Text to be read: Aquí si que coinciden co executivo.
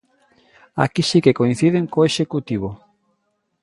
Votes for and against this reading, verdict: 2, 0, accepted